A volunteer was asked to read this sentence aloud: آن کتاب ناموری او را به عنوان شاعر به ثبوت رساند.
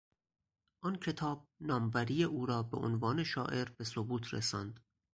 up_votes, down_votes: 4, 0